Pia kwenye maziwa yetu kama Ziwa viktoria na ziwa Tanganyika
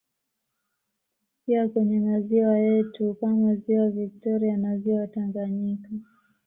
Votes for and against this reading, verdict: 2, 0, accepted